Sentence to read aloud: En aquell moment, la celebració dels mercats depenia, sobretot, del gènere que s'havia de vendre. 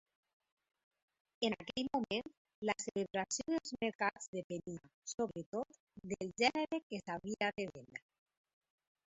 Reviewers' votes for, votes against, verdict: 0, 2, rejected